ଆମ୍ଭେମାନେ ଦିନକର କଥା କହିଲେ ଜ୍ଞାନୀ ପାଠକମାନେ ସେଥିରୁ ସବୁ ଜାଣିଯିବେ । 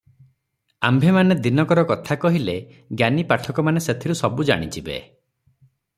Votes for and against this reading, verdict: 3, 3, rejected